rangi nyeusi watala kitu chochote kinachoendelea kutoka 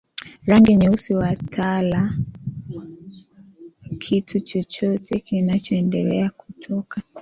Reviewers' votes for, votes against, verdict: 1, 2, rejected